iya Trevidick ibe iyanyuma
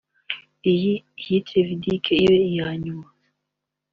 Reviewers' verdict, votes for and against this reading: accepted, 2, 0